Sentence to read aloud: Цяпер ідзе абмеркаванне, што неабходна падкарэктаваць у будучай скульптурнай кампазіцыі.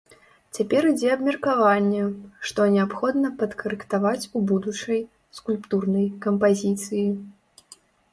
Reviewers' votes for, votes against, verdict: 2, 0, accepted